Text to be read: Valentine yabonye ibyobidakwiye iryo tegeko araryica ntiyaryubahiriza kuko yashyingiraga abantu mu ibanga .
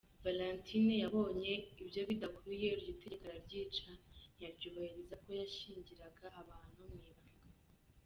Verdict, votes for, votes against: rejected, 1, 2